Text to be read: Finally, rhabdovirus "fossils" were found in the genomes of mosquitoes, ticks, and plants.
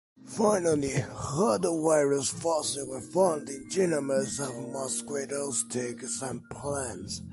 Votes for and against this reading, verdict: 2, 0, accepted